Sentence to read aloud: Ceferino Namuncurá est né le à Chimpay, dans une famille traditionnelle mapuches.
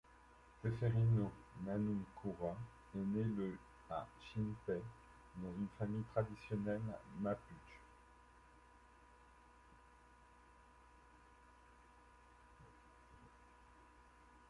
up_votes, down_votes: 0, 2